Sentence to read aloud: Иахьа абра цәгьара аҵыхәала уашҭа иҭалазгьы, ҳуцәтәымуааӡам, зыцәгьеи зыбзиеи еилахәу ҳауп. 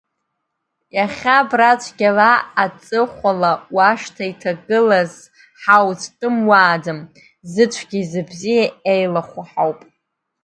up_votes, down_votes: 0, 2